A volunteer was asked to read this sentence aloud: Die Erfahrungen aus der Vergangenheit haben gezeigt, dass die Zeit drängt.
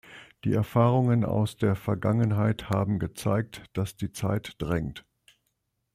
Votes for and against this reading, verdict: 2, 0, accepted